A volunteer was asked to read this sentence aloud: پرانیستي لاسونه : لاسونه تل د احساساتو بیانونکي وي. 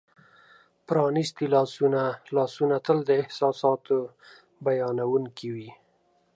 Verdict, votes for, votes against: accepted, 2, 0